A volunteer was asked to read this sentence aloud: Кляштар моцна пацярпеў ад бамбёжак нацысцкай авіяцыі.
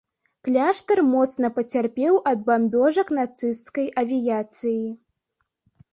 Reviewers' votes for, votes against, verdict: 2, 0, accepted